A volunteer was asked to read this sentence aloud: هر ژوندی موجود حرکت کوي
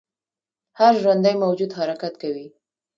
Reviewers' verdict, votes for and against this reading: accepted, 2, 0